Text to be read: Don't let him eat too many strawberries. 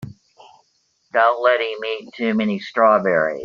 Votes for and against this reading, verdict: 1, 2, rejected